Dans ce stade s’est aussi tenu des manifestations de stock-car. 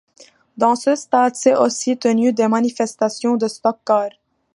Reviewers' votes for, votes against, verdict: 2, 0, accepted